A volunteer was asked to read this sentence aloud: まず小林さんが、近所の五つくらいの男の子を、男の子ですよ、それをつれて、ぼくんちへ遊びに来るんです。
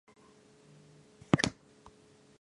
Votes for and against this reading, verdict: 2, 3, rejected